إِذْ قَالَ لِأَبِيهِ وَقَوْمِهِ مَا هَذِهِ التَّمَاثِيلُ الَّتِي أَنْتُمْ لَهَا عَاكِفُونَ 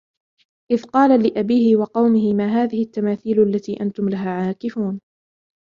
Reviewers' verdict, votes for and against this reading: accepted, 2, 1